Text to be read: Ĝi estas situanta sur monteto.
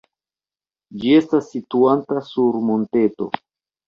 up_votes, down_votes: 1, 2